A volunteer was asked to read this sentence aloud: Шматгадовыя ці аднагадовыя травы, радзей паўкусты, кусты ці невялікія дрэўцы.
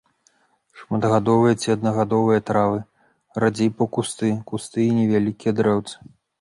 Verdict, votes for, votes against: rejected, 0, 2